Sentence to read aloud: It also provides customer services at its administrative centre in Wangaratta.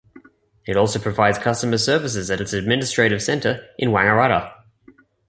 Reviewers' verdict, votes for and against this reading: accepted, 2, 0